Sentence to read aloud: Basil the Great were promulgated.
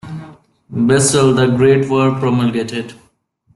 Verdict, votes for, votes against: rejected, 1, 2